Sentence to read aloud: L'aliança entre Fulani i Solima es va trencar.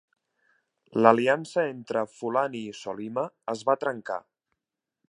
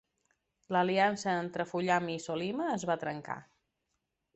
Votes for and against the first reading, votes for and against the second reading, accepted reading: 3, 0, 0, 2, first